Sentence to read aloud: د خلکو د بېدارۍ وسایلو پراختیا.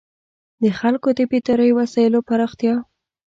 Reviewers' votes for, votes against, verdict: 2, 0, accepted